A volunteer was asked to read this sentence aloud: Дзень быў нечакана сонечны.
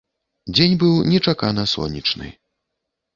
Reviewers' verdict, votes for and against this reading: accepted, 2, 0